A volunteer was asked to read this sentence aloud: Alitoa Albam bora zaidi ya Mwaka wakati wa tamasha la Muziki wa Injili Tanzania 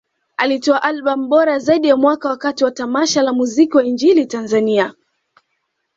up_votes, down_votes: 2, 0